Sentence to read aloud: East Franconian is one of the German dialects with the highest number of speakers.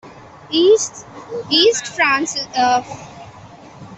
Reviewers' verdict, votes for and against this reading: rejected, 0, 2